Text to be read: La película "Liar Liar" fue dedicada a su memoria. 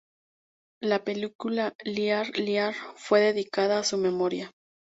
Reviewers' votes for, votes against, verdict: 0, 2, rejected